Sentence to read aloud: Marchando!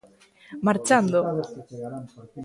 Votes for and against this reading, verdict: 0, 2, rejected